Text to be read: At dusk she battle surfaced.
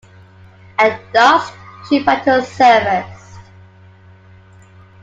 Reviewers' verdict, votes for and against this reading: rejected, 1, 2